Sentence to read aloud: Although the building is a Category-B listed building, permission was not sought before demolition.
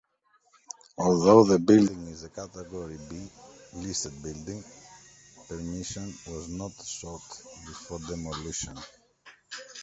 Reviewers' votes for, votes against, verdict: 0, 2, rejected